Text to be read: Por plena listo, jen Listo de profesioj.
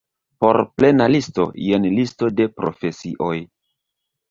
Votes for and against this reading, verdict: 1, 2, rejected